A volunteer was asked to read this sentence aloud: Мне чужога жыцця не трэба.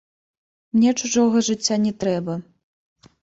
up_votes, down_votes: 2, 0